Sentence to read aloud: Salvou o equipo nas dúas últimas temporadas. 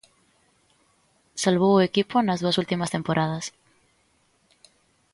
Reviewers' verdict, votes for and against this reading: accepted, 2, 0